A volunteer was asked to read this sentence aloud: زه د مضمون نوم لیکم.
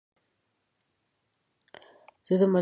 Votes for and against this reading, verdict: 3, 4, rejected